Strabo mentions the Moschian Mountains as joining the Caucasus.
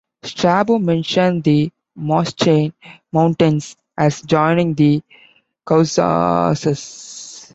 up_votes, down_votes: 1, 2